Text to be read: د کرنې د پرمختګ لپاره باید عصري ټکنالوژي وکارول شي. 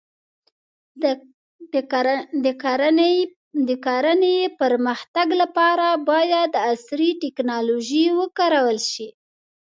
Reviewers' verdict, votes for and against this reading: accepted, 2, 0